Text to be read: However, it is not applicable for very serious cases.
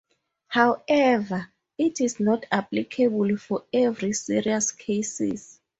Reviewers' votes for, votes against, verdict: 0, 2, rejected